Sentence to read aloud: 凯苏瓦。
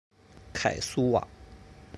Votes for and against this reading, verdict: 2, 0, accepted